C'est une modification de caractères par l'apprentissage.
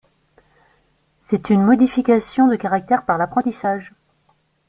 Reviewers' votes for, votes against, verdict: 3, 0, accepted